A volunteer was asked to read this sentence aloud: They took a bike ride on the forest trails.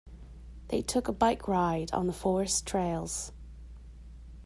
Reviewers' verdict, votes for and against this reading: accepted, 2, 0